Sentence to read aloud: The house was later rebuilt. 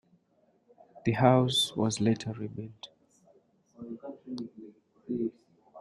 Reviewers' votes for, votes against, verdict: 2, 1, accepted